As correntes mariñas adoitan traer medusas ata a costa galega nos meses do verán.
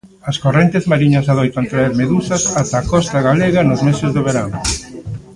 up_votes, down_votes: 0, 2